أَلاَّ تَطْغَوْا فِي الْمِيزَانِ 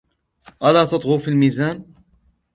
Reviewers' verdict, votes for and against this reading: rejected, 1, 2